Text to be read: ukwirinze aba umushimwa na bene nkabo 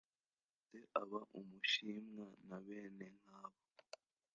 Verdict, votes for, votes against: rejected, 1, 2